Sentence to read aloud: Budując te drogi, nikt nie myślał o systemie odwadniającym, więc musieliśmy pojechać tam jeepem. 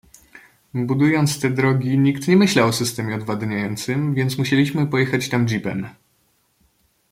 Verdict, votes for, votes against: accepted, 2, 0